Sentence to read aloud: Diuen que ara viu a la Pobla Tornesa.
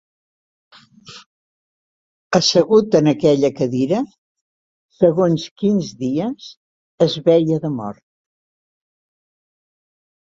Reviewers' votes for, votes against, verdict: 0, 2, rejected